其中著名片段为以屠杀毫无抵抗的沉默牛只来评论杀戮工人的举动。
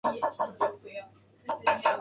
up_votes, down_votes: 0, 3